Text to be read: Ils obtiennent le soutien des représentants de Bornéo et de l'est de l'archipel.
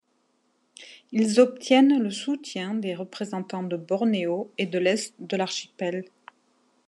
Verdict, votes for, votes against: accepted, 2, 0